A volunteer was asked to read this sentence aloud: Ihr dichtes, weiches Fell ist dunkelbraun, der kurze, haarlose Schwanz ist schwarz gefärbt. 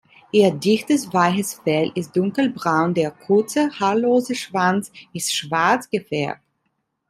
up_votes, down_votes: 2, 0